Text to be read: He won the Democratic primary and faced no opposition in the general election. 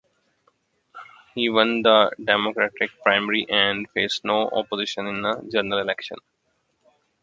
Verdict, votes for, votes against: accepted, 2, 0